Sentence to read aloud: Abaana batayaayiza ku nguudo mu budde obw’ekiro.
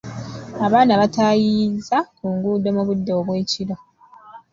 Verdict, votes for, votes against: rejected, 1, 2